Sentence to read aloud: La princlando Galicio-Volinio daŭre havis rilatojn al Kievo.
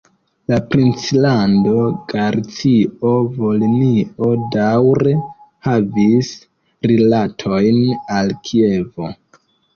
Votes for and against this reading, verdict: 0, 2, rejected